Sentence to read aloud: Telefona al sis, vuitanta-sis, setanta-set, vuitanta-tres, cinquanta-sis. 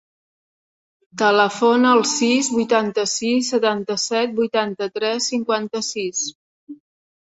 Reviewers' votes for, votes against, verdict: 3, 0, accepted